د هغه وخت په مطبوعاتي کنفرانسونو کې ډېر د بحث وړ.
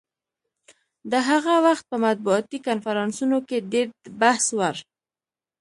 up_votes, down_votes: 2, 0